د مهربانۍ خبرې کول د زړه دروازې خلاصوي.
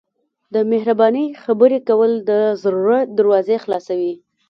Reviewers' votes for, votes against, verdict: 2, 0, accepted